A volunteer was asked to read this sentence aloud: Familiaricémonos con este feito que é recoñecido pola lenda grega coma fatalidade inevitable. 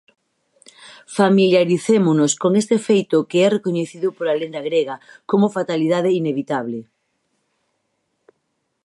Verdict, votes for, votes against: rejected, 2, 2